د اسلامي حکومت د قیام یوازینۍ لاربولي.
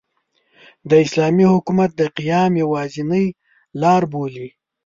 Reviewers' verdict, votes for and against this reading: accepted, 2, 0